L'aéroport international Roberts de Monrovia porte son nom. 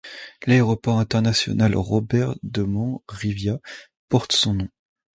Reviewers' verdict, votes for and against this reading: rejected, 1, 2